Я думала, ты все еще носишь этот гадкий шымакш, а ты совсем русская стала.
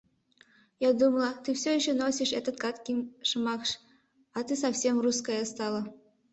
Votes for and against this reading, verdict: 2, 0, accepted